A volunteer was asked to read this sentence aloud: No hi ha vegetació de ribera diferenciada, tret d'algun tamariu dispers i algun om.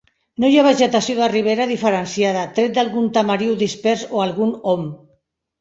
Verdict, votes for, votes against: rejected, 2, 3